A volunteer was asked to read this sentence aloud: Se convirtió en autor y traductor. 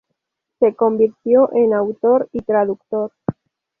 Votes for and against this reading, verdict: 2, 0, accepted